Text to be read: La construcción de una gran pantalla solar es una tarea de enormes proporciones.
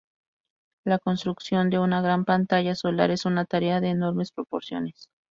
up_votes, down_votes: 0, 2